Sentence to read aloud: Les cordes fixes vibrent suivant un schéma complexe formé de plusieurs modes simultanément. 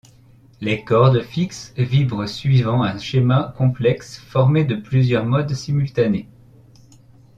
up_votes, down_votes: 1, 2